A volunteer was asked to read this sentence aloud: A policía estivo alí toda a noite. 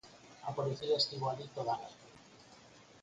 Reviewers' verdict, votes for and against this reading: accepted, 4, 2